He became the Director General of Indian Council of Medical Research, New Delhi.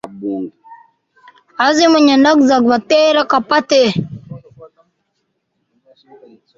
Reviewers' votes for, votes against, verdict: 0, 2, rejected